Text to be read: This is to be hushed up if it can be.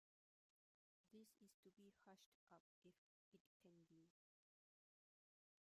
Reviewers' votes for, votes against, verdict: 0, 2, rejected